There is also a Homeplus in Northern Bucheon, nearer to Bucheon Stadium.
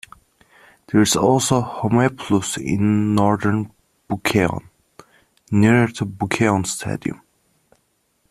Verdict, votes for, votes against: rejected, 1, 2